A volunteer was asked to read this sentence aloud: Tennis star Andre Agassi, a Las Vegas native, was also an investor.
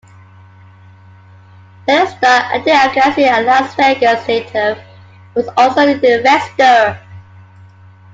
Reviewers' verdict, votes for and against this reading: rejected, 1, 2